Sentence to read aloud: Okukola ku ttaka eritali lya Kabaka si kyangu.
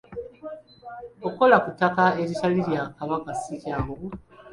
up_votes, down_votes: 2, 0